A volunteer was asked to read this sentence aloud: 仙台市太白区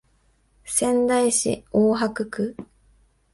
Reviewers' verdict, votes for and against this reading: rejected, 1, 2